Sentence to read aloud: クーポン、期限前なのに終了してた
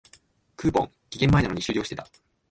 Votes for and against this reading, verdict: 1, 2, rejected